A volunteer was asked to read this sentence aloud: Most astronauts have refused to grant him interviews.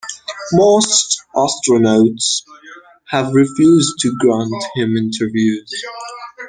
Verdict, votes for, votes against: rejected, 0, 2